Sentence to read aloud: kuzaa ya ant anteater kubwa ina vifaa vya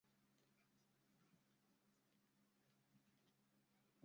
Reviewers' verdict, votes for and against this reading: rejected, 0, 2